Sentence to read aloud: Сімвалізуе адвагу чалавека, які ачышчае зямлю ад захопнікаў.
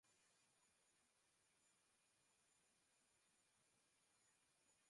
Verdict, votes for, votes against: rejected, 0, 2